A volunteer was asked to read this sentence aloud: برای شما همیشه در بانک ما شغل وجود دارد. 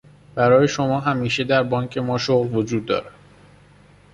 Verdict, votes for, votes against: accepted, 2, 1